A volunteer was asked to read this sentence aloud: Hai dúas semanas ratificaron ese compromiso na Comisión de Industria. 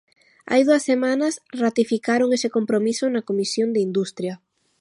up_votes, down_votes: 2, 1